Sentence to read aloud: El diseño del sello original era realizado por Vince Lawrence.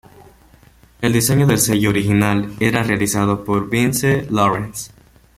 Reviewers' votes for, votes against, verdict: 1, 2, rejected